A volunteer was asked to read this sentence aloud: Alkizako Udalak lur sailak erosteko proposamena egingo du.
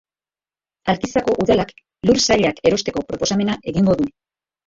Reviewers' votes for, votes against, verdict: 2, 0, accepted